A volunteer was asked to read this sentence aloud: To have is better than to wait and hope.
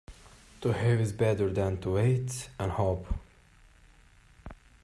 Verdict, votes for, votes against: rejected, 1, 2